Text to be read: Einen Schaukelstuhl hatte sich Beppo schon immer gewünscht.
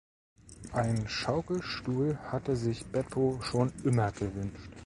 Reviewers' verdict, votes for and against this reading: accepted, 2, 0